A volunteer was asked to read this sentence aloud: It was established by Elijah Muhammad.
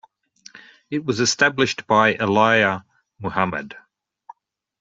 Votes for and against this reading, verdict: 1, 2, rejected